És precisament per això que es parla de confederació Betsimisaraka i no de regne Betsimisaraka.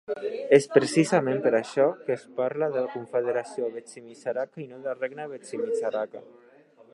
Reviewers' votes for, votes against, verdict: 1, 2, rejected